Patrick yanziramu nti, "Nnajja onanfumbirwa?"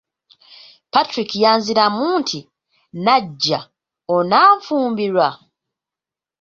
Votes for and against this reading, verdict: 2, 1, accepted